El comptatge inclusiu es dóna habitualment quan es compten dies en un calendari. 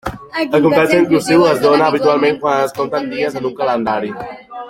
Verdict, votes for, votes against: accepted, 2, 0